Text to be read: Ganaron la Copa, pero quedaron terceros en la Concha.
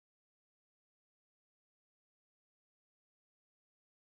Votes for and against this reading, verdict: 0, 4, rejected